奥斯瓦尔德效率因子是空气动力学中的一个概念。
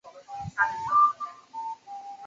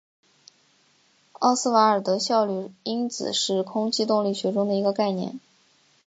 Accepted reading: second